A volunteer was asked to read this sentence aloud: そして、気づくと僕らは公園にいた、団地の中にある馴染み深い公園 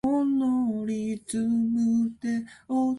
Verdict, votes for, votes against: rejected, 0, 2